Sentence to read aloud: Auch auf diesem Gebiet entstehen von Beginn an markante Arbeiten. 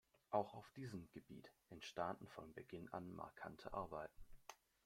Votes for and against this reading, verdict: 0, 2, rejected